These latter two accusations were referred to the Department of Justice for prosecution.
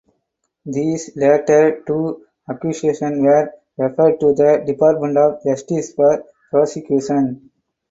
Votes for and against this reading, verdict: 2, 0, accepted